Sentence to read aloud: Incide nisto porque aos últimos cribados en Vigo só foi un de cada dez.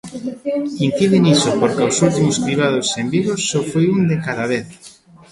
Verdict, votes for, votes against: rejected, 0, 2